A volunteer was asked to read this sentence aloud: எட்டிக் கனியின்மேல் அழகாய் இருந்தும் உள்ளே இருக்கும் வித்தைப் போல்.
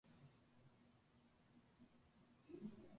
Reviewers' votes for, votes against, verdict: 1, 2, rejected